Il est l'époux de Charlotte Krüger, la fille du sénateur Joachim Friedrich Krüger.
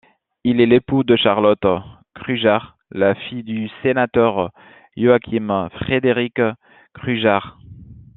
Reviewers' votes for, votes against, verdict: 2, 1, accepted